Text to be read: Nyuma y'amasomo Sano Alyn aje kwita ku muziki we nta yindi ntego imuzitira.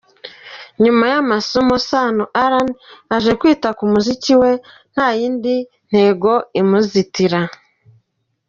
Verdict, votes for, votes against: rejected, 0, 2